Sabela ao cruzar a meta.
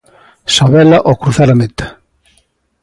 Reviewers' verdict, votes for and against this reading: accepted, 2, 0